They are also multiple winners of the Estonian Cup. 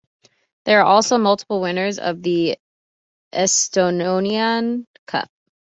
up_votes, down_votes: 1, 2